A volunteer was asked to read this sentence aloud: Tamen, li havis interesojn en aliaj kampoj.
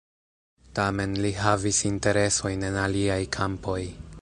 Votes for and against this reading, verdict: 0, 2, rejected